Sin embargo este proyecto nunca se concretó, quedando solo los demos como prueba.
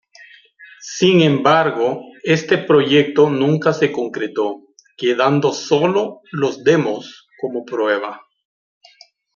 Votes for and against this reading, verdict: 2, 0, accepted